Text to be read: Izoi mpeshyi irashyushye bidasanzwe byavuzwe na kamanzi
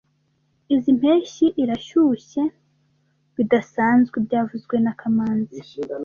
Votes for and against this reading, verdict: 2, 0, accepted